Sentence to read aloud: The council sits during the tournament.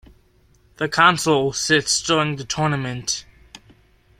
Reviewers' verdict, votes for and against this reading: accepted, 2, 0